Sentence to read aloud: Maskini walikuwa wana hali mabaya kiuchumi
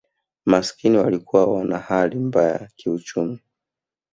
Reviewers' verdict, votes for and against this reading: accepted, 4, 2